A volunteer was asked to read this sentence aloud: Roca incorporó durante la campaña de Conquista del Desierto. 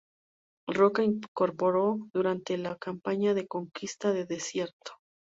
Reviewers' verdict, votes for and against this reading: accepted, 2, 0